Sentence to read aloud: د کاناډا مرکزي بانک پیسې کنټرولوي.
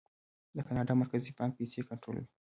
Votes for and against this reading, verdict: 2, 0, accepted